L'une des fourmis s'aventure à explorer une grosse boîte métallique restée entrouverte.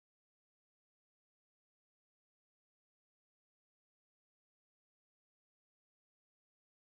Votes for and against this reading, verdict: 0, 4, rejected